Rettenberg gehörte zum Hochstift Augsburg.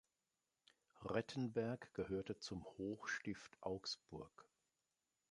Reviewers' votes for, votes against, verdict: 2, 0, accepted